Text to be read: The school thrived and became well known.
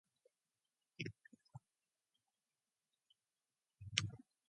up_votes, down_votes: 0, 2